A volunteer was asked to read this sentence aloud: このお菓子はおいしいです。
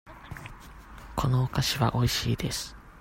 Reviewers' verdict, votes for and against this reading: accepted, 2, 0